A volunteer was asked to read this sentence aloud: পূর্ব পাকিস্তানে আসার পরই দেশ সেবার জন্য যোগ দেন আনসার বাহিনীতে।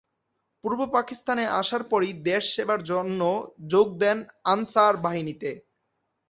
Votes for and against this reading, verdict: 2, 0, accepted